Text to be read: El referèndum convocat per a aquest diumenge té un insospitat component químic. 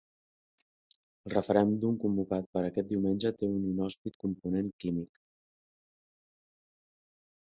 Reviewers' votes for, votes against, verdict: 1, 4, rejected